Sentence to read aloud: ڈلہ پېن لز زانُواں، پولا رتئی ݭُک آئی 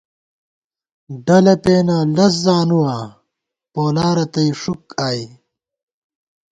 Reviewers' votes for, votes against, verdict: 2, 0, accepted